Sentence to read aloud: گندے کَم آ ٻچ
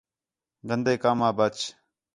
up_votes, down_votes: 4, 0